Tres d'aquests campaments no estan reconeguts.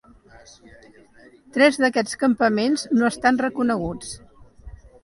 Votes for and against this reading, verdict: 0, 2, rejected